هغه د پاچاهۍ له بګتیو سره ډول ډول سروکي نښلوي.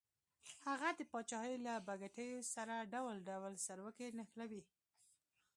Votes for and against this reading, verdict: 2, 0, accepted